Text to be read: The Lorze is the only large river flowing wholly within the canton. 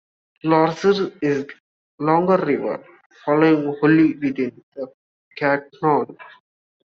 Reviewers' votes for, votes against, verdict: 0, 2, rejected